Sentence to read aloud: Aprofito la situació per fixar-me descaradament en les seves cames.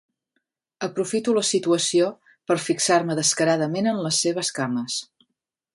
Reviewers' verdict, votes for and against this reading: accepted, 3, 0